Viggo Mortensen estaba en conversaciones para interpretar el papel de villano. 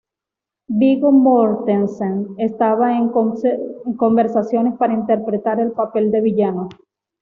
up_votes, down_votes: 1, 2